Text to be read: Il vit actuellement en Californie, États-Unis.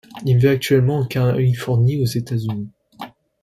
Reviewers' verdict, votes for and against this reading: rejected, 1, 2